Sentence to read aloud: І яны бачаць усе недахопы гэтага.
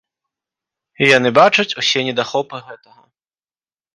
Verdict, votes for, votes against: accepted, 2, 0